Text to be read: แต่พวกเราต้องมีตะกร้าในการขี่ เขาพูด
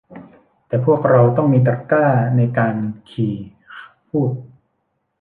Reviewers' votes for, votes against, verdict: 0, 2, rejected